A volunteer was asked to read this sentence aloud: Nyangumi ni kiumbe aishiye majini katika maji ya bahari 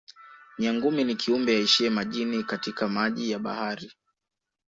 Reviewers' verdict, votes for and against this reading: rejected, 1, 2